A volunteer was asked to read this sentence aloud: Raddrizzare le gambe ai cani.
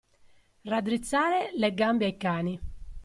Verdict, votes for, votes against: accepted, 2, 0